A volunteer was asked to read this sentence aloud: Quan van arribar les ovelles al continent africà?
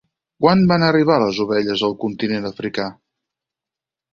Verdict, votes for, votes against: accepted, 4, 0